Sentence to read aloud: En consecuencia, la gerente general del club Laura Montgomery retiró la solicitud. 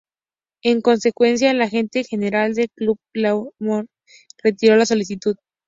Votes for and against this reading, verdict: 0, 2, rejected